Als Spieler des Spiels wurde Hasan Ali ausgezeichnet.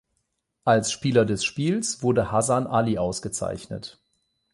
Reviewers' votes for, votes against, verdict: 8, 0, accepted